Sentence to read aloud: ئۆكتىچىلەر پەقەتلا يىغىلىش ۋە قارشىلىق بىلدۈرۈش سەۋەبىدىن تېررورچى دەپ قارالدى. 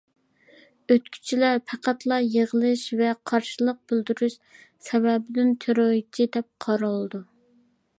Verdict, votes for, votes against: rejected, 0, 2